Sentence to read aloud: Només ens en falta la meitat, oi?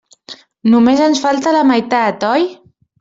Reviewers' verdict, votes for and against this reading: rejected, 1, 2